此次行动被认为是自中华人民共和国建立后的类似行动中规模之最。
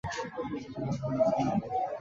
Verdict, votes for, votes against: rejected, 0, 2